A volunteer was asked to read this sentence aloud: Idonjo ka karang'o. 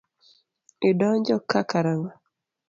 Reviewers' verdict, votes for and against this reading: accepted, 2, 0